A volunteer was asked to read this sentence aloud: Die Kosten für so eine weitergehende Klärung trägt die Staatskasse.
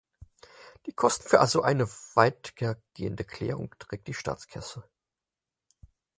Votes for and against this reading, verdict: 2, 4, rejected